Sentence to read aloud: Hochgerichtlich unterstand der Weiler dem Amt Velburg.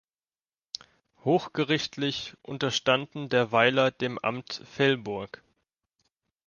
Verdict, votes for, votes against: rejected, 0, 2